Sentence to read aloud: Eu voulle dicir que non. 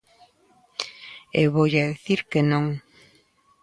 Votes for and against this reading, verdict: 1, 2, rejected